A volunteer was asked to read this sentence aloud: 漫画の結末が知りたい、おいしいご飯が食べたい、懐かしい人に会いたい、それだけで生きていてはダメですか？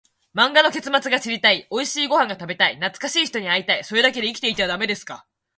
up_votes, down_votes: 2, 0